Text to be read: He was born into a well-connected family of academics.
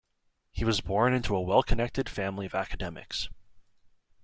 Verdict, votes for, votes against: accepted, 2, 0